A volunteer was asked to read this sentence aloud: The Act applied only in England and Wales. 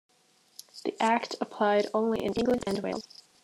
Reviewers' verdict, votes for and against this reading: rejected, 0, 2